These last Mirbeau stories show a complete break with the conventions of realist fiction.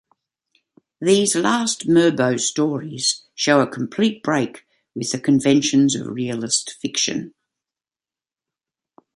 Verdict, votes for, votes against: accepted, 2, 0